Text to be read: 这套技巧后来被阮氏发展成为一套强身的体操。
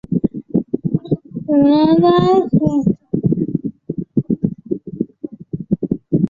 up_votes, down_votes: 2, 6